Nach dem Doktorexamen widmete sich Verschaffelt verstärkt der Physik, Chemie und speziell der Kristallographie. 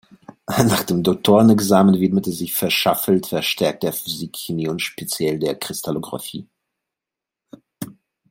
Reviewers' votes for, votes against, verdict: 2, 1, accepted